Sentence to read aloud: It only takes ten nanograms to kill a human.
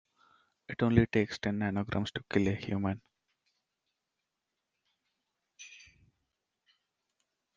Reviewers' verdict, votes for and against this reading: rejected, 0, 2